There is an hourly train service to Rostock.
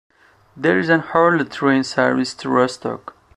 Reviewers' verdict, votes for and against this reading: rejected, 1, 2